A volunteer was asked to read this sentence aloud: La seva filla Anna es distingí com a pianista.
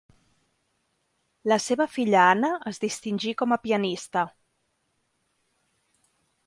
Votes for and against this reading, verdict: 2, 0, accepted